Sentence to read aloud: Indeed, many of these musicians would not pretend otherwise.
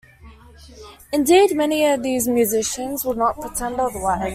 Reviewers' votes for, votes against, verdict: 2, 0, accepted